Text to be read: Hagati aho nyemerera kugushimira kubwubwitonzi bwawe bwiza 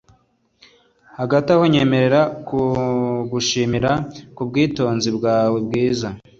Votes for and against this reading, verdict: 2, 0, accepted